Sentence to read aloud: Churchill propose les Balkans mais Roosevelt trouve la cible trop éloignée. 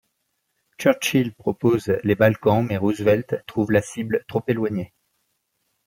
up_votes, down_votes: 2, 0